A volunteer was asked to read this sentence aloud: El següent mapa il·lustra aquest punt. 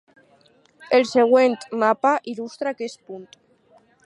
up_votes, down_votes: 4, 0